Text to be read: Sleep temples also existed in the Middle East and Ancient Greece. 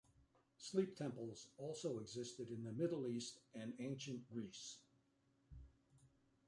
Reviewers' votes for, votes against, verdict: 2, 1, accepted